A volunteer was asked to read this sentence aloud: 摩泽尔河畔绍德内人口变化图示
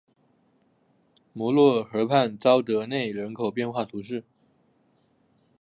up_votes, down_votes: 1, 2